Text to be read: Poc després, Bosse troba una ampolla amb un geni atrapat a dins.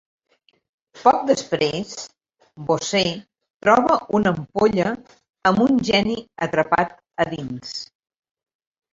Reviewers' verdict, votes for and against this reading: accepted, 2, 0